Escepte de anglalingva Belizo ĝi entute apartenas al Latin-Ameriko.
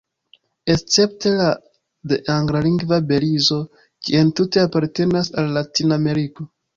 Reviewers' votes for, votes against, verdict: 2, 1, accepted